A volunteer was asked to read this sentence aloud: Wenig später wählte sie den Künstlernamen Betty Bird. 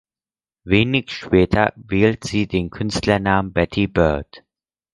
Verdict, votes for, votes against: rejected, 0, 4